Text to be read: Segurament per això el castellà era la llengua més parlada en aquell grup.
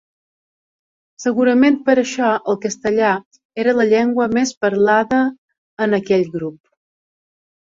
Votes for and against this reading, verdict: 3, 0, accepted